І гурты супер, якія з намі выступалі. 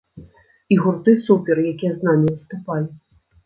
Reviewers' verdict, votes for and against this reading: accepted, 2, 1